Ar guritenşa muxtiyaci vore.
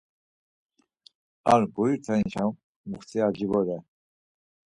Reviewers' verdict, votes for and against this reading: accepted, 4, 0